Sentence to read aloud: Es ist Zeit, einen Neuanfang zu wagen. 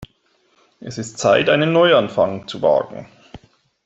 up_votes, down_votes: 2, 0